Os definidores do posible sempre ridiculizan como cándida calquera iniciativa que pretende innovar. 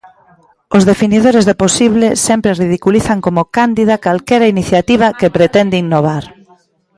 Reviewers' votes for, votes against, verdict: 2, 0, accepted